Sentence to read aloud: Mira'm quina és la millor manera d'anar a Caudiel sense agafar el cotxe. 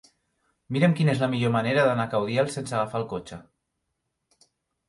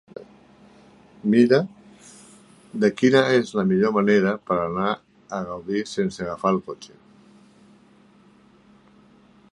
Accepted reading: first